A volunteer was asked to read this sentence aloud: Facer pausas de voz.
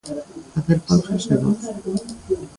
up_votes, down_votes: 1, 2